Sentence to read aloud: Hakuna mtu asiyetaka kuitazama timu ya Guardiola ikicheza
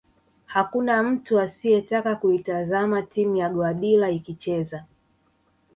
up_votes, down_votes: 0, 2